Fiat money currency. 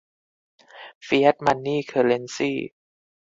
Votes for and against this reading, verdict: 2, 4, rejected